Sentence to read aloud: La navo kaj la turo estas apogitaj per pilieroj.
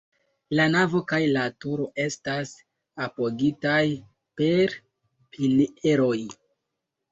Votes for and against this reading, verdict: 2, 0, accepted